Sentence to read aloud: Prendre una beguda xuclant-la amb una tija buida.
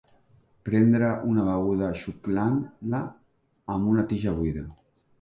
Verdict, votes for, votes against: rejected, 0, 2